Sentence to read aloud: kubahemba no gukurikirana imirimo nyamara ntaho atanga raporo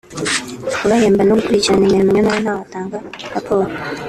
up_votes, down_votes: 0, 2